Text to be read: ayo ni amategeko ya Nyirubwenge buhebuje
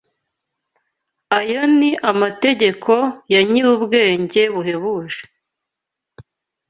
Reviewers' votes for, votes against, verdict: 2, 0, accepted